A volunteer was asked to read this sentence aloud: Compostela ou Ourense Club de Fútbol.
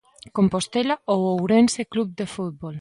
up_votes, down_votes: 2, 0